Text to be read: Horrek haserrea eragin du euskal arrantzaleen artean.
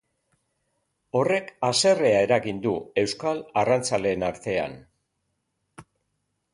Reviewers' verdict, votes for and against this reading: accepted, 3, 0